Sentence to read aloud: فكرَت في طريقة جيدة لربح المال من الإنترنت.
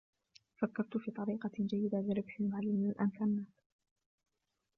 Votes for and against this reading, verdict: 1, 2, rejected